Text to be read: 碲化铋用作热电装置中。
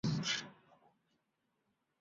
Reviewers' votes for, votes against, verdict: 0, 4, rejected